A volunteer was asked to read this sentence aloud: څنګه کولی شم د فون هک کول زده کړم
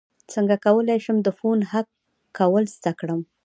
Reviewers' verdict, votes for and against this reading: rejected, 0, 2